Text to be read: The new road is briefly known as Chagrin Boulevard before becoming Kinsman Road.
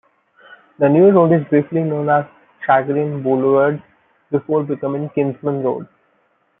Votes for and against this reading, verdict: 0, 2, rejected